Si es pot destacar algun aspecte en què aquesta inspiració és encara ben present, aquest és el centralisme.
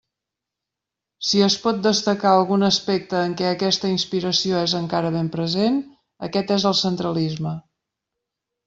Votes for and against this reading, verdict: 3, 0, accepted